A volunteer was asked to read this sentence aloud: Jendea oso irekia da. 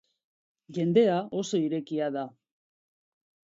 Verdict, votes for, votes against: accepted, 2, 0